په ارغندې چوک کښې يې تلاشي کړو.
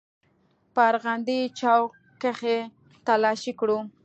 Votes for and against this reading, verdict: 2, 0, accepted